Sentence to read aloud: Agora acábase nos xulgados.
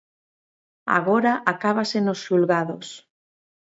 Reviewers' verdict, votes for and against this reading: accepted, 2, 0